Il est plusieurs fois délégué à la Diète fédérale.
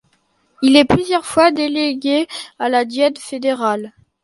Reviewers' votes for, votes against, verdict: 2, 0, accepted